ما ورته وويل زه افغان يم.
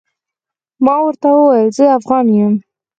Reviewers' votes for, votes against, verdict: 4, 0, accepted